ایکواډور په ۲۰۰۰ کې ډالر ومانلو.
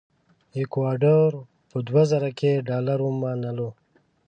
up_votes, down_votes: 0, 2